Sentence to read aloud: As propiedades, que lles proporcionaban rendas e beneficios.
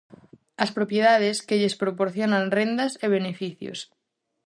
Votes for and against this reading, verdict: 2, 2, rejected